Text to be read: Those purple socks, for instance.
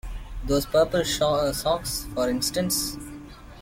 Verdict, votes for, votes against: rejected, 1, 2